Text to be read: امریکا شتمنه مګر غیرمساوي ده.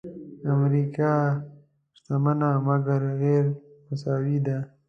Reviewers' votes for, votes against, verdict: 2, 0, accepted